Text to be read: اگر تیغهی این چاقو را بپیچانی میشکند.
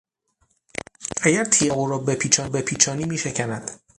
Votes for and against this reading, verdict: 0, 6, rejected